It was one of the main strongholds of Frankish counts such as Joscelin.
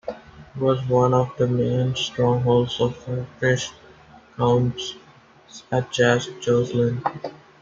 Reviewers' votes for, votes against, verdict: 0, 2, rejected